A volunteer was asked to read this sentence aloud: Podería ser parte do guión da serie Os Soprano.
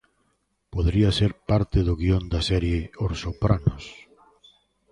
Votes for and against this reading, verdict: 1, 2, rejected